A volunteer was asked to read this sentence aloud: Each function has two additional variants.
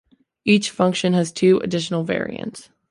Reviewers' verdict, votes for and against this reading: accepted, 2, 0